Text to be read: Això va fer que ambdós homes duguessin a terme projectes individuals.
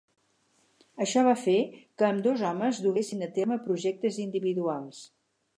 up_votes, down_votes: 6, 0